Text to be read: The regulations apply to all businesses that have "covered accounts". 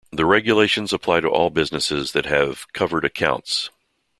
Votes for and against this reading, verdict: 2, 0, accepted